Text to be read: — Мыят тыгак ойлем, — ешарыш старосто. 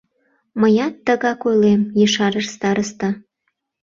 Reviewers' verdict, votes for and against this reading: rejected, 1, 2